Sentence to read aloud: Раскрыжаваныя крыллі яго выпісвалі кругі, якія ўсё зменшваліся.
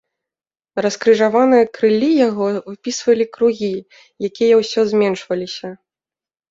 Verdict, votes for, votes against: rejected, 0, 2